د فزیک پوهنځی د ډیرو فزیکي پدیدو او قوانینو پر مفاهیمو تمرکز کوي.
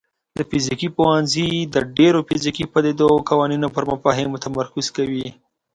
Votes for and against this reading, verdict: 3, 0, accepted